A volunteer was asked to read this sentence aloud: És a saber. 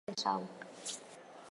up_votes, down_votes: 2, 4